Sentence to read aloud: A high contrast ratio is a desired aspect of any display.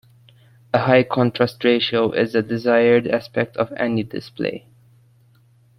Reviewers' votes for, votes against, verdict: 2, 0, accepted